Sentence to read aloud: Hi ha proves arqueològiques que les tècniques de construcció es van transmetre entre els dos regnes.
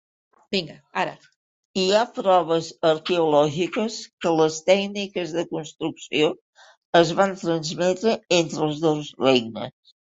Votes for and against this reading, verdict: 1, 2, rejected